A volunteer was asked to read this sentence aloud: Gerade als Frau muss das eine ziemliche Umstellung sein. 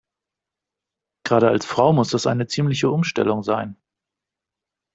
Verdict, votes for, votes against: accepted, 2, 0